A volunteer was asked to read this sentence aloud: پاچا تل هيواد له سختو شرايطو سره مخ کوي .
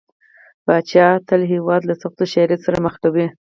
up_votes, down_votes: 4, 0